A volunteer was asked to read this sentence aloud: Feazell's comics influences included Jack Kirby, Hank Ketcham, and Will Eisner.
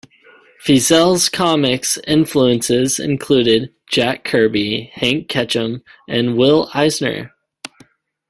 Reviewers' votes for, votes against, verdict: 2, 0, accepted